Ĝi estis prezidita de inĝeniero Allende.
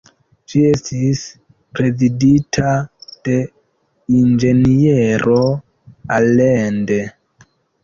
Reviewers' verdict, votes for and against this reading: rejected, 1, 2